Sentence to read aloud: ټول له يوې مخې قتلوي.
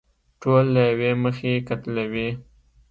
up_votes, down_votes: 2, 0